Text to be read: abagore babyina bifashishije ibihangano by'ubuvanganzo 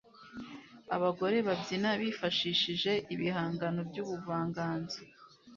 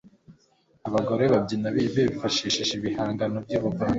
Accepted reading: first